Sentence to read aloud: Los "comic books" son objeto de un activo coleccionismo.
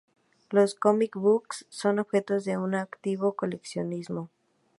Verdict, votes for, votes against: accepted, 2, 0